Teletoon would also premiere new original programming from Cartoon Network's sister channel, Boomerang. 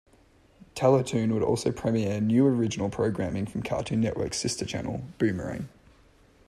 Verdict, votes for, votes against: rejected, 1, 2